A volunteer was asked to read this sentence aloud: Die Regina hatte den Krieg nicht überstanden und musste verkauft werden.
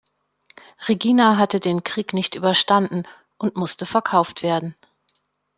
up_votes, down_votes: 1, 2